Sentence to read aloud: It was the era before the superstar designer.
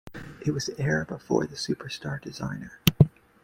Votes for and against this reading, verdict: 2, 0, accepted